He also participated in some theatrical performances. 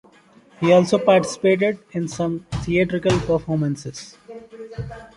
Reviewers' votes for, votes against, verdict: 2, 0, accepted